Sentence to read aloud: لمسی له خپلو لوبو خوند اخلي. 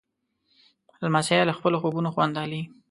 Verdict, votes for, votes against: rejected, 0, 2